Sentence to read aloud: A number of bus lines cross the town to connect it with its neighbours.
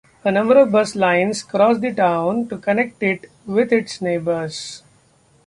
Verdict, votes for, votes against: accepted, 2, 0